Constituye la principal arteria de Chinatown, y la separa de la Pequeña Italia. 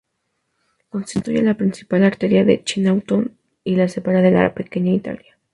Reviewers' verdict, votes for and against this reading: accepted, 4, 2